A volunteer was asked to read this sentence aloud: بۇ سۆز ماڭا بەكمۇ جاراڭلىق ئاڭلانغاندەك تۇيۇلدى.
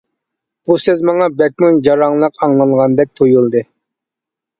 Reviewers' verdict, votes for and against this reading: accepted, 2, 0